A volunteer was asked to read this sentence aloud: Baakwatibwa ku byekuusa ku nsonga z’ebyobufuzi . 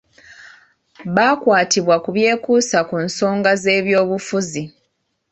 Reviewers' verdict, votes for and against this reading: accepted, 2, 0